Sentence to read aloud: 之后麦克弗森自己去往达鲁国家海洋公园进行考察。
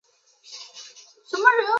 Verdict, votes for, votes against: rejected, 0, 2